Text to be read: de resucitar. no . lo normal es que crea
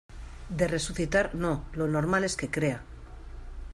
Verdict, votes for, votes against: accepted, 2, 0